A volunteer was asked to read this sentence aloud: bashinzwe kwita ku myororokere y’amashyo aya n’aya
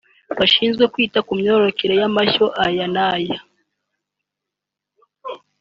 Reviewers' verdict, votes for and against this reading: accepted, 2, 1